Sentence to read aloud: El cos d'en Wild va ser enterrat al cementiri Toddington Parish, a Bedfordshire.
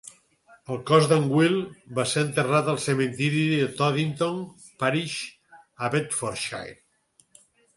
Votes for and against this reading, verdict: 4, 0, accepted